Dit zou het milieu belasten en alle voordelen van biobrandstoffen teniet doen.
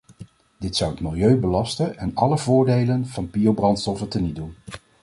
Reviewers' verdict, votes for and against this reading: accepted, 2, 0